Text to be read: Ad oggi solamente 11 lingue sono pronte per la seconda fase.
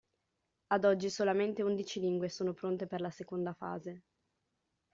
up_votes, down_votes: 0, 2